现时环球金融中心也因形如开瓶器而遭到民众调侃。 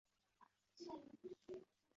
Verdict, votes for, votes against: rejected, 0, 3